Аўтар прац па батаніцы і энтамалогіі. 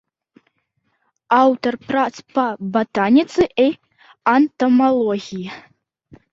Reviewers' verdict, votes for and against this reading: rejected, 0, 2